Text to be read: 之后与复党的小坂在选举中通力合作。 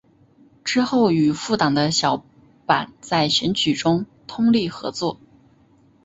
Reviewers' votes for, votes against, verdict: 2, 0, accepted